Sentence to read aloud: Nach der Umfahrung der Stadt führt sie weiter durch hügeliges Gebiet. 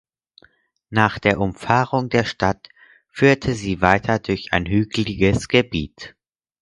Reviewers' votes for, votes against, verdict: 0, 4, rejected